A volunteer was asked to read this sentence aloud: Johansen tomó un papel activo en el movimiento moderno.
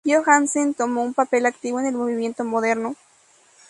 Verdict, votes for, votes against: accepted, 2, 0